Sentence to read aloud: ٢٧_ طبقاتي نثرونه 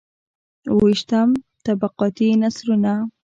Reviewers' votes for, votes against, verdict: 0, 2, rejected